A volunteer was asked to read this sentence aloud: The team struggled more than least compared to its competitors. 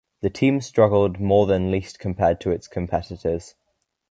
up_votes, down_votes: 2, 0